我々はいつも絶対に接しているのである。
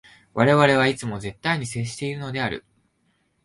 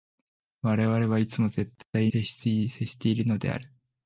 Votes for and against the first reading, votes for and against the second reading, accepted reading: 2, 0, 2, 3, first